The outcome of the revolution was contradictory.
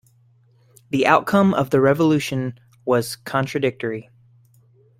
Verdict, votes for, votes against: accepted, 2, 0